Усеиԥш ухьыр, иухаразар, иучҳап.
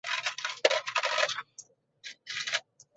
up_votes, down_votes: 0, 2